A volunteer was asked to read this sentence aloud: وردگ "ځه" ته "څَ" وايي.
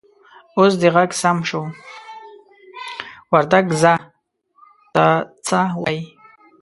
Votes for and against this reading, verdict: 0, 2, rejected